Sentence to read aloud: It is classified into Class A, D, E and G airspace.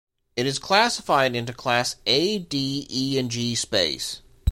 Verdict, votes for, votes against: rejected, 0, 2